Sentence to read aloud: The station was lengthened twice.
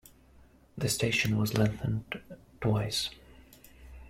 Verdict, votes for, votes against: accepted, 2, 0